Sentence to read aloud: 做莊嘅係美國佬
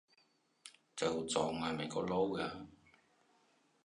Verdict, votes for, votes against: rejected, 1, 2